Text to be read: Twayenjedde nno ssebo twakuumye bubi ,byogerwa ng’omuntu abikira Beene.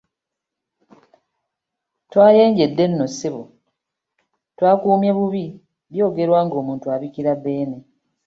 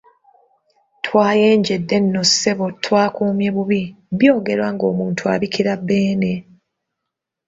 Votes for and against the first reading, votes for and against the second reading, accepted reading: 2, 0, 1, 2, first